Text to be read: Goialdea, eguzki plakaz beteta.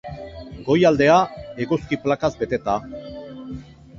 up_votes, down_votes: 0, 2